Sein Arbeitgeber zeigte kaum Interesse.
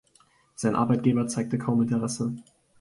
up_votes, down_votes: 2, 1